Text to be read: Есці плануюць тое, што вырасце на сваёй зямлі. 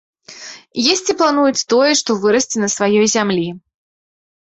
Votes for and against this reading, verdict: 2, 0, accepted